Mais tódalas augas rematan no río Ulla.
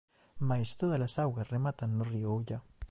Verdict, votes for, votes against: accepted, 2, 0